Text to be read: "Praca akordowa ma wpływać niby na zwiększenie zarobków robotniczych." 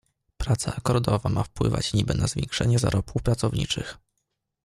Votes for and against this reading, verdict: 0, 2, rejected